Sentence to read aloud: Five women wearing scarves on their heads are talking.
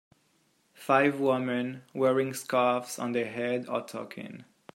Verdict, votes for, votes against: rejected, 0, 2